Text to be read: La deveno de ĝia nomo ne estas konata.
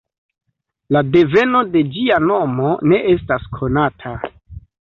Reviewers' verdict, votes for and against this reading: accepted, 2, 1